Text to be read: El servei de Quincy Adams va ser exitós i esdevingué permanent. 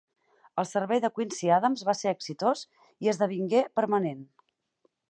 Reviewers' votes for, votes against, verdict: 6, 0, accepted